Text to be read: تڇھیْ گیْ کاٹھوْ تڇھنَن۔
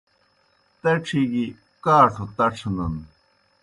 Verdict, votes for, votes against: accepted, 2, 0